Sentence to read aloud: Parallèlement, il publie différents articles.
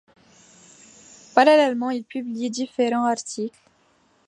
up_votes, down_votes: 0, 2